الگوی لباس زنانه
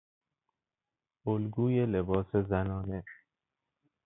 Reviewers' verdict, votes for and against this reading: accepted, 2, 0